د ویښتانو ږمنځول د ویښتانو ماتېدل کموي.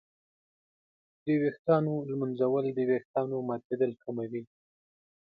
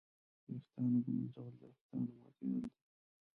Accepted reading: first